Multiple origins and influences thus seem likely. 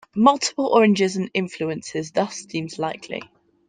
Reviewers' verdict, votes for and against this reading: rejected, 0, 2